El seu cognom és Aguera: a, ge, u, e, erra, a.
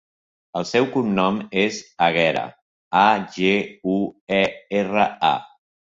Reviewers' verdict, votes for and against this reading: accepted, 2, 0